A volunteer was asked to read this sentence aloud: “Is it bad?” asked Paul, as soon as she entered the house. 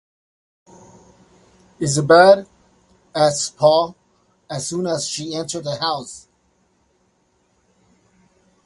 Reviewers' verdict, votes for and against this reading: accepted, 2, 0